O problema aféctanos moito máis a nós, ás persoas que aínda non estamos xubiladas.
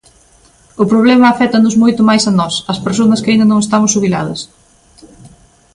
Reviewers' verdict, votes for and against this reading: rejected, 2, 3